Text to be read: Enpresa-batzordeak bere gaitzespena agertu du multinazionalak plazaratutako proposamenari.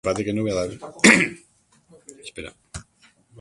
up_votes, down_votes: 0, 2